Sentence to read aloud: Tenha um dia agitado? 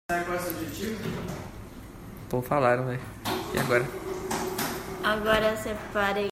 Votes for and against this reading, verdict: 0, 2, rejected